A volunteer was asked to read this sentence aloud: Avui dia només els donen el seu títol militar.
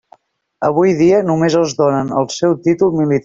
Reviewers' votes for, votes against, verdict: 1, 2, rejected